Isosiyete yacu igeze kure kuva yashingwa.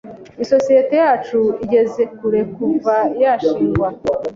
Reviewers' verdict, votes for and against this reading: accepted, 2, 0